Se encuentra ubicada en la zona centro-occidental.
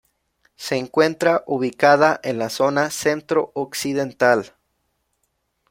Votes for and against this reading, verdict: 2, 0, accepted